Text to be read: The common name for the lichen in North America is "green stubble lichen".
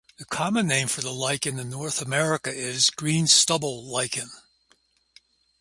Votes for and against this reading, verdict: 0, 2, rejected